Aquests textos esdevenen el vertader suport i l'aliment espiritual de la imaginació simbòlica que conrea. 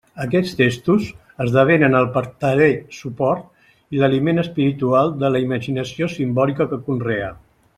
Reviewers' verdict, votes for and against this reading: rejected, 1, 2